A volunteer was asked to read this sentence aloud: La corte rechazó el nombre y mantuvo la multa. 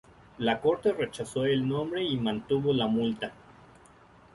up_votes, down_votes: 2, 0